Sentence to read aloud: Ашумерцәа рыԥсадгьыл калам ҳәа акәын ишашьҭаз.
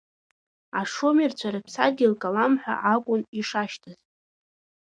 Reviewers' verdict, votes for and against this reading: accepted, 2, 0